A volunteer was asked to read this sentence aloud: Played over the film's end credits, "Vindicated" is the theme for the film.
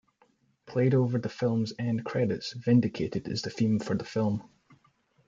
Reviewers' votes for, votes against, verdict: 2, 0, accepted